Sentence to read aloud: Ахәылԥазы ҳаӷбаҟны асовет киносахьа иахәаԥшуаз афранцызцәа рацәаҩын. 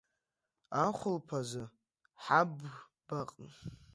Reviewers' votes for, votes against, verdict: 0, 2, rejected